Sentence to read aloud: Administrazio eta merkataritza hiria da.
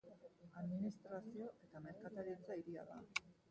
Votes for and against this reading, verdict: 0, 2, rejected